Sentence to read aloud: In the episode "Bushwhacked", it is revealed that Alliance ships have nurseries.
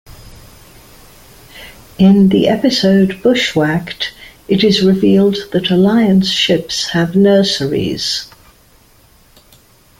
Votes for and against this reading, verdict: 2, 0, accepted